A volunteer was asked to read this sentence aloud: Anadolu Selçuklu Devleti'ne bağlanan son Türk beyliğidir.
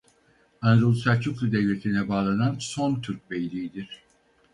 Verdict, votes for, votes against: rejected, 0, 4